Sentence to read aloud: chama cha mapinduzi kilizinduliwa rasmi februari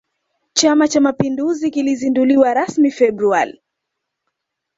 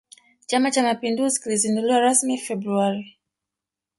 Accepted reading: first